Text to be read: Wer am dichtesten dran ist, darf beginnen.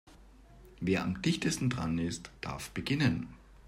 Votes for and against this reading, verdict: 2, 0, accepted